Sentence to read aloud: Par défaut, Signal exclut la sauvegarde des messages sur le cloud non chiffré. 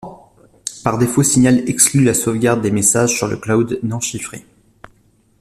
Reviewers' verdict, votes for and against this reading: accepted, 2, 0